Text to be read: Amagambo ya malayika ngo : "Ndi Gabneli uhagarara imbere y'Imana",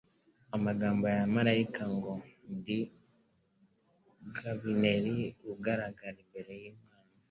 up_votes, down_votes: 1, 2